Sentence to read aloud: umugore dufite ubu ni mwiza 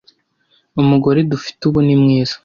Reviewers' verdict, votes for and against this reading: accepted, 2, 0